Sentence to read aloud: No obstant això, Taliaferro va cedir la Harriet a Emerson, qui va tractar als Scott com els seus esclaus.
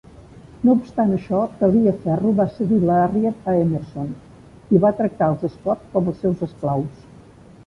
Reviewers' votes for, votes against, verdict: 1, 2, rejected